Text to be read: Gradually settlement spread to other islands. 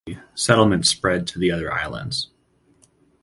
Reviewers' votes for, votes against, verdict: 0, 4, rejected